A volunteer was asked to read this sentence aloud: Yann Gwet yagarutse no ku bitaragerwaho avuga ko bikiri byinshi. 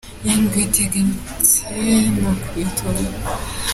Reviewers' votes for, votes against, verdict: 0, 2, rejected